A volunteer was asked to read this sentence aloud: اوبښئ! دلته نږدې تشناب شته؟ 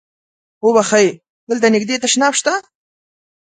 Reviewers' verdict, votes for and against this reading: accepted, 4, 0